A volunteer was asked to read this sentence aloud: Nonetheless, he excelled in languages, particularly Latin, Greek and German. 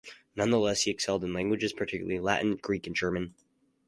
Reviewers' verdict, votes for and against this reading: accepted, 4, 0